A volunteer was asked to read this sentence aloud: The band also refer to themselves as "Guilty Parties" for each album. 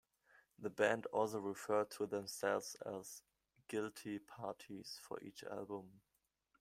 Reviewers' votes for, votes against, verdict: 2, 1, accepted